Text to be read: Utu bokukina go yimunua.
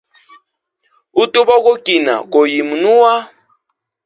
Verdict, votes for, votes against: accepted, 2, 0